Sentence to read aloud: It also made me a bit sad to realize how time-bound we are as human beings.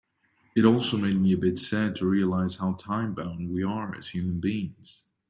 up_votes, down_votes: 2, 0